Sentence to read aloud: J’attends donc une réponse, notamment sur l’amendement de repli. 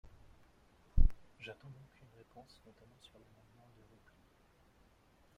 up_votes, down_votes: 1, 2